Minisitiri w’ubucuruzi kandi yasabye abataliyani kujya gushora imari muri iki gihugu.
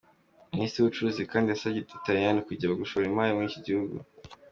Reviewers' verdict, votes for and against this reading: accepted, 2, 1